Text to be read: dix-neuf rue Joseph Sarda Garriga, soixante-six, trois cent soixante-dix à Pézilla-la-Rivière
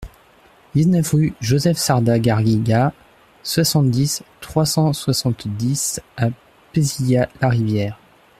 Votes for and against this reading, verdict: 1, 2, rejected